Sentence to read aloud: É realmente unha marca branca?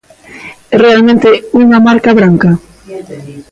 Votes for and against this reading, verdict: 2, 0, accepted